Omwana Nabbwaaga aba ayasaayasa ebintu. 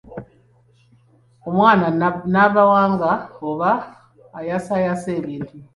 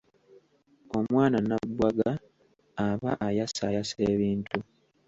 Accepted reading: second